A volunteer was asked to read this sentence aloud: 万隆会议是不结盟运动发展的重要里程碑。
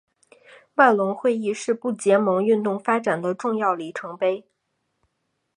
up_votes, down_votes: 3, 0